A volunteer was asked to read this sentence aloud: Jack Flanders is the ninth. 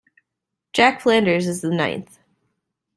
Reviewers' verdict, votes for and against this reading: accepted, 2, 0